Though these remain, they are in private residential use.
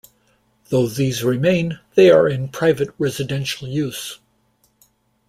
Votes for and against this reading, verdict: 2, 0, accepted